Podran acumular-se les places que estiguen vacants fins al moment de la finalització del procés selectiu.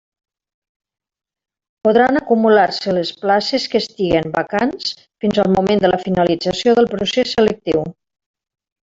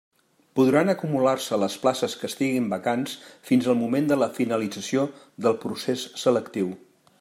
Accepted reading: first